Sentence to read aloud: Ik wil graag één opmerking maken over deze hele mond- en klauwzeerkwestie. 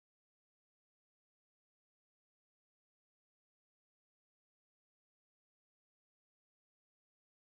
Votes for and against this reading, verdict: 0, 2, rejected